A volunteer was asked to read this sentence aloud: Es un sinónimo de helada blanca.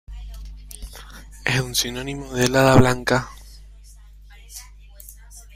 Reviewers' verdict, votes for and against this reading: rejected, 1, 2